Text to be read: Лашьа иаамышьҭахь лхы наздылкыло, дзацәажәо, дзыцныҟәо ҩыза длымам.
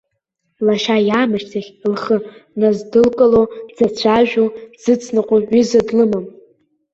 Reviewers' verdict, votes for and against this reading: accepted, 2, 0